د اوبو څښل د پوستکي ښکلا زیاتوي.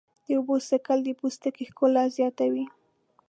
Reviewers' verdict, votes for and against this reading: accepted, 2, 0